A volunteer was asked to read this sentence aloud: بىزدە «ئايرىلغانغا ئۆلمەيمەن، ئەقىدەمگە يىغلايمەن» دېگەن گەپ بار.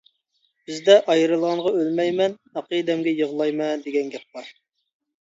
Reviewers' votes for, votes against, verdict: 2, 0, accepted